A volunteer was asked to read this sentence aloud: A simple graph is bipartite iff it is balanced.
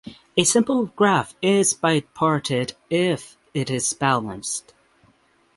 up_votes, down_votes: 6, 0